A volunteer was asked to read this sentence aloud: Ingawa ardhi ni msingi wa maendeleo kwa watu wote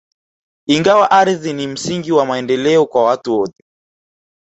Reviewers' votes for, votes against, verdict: 2, 0, accepted